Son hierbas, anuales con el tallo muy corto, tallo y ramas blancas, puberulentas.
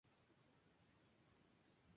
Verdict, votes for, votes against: rejected, 0, 4